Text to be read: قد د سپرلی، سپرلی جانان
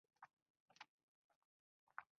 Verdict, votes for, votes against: accepted, 2, 0